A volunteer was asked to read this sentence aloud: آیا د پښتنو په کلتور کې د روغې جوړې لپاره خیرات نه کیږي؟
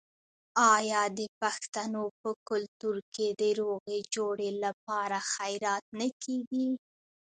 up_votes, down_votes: 2, 0